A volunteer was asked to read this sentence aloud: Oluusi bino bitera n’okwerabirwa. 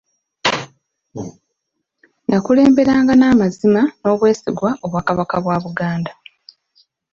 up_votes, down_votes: 0, 2